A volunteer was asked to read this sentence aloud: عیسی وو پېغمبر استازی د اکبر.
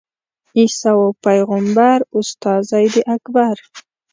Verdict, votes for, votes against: rejected, 1, 2